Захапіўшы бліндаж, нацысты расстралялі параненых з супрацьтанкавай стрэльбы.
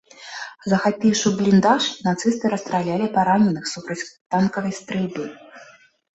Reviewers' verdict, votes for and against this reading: rejected, 0, 2